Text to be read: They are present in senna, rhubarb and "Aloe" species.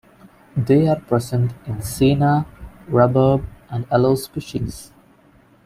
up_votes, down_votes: 1, 2